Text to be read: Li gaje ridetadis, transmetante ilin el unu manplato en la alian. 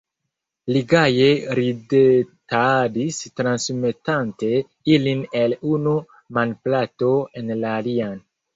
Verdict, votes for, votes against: accepted, 2, 1